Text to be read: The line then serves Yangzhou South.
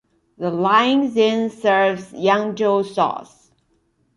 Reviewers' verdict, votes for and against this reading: accepted, 2, 0